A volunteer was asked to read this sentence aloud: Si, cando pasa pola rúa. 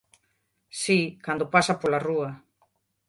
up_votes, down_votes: 3, 1